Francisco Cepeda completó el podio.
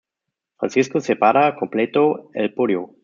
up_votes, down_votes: 0, 2